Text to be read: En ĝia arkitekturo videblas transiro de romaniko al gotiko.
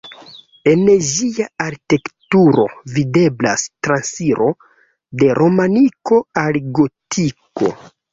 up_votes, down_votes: 0, 3